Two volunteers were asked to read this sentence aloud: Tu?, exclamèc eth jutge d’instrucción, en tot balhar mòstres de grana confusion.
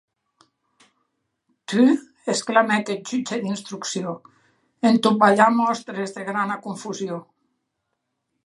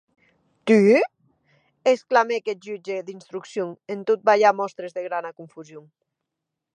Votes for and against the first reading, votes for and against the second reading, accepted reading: 2, 0, 8, 8, first